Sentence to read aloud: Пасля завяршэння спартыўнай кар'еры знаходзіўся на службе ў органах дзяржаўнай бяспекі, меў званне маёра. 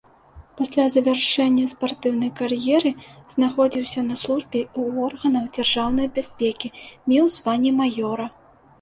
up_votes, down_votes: 2, 0